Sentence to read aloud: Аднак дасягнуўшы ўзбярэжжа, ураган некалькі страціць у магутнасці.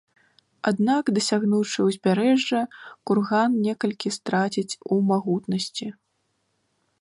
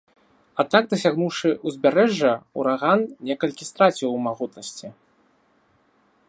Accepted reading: second